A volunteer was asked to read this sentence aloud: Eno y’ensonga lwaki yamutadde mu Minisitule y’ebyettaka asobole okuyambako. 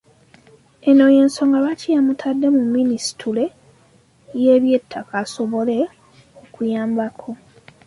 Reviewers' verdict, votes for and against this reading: accepted, 2, 0